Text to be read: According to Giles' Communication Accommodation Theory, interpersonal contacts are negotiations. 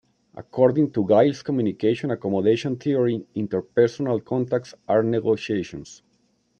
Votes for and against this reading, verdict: 2, 0, accepted